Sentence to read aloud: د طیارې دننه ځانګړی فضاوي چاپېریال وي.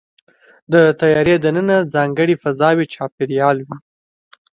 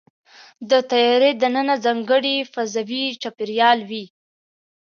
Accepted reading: second